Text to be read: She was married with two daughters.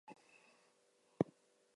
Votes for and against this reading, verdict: 0, 2, rejected